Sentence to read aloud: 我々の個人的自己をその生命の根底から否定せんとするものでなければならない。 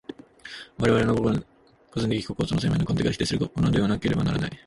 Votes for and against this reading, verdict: 1, 2, rejected